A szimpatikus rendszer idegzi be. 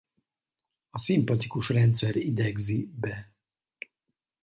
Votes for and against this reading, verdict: 4, 0, accepted